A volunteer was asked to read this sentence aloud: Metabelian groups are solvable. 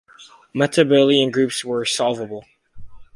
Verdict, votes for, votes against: rejected, 2, 4